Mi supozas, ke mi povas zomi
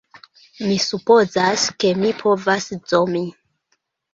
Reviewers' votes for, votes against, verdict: 0, 2, rejected